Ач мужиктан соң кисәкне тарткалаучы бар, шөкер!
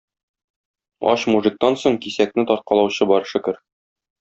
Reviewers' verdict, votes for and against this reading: accepted, 2, 0